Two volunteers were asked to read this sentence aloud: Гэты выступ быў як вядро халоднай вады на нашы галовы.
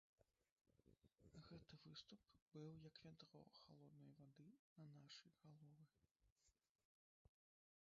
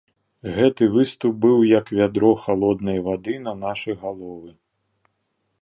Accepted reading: second